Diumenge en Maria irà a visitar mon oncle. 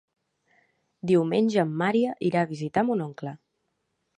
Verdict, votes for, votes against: rejected, 0, 2